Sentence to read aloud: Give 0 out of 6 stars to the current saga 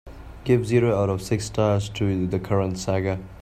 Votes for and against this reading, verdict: 0, 2, rejected